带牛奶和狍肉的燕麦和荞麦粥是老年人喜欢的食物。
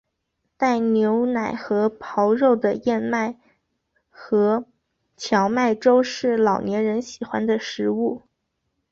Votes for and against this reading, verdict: 3, 2, accepted